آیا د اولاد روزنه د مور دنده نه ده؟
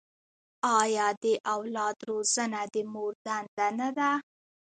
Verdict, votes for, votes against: rejected, 0, 2